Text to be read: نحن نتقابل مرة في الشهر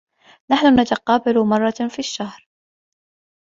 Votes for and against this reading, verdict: 2, 0, accepted